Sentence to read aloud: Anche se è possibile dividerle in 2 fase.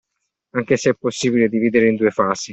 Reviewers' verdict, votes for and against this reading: rejected, 0, 2